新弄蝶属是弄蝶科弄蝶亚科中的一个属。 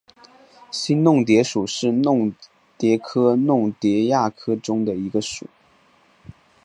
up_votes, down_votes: 3, 1